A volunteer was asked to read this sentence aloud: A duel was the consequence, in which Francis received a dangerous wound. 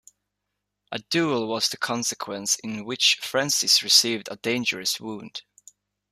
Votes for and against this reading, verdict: 2, 0, accepted